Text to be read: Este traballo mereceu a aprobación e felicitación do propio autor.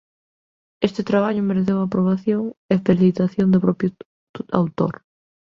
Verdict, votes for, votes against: rejected, 0, 2